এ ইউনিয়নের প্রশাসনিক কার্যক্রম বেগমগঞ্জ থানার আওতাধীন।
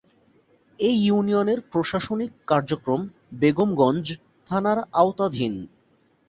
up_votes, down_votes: 2, 1